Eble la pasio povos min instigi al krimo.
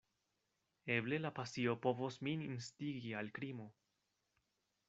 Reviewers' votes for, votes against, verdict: 2, 0, accepted